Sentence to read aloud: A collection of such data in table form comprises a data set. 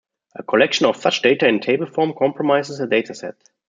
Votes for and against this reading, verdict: 0, 2, rejected